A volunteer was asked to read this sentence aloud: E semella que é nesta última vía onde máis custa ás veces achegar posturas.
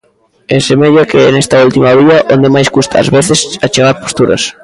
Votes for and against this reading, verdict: 0, 2, rejected